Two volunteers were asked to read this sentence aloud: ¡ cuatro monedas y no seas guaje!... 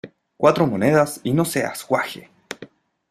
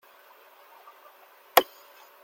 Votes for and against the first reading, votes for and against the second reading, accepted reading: 2, 0, 0, 2, first